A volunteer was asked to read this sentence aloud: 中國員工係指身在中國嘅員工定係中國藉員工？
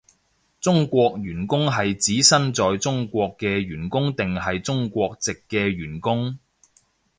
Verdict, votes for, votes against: rejected, 0, 2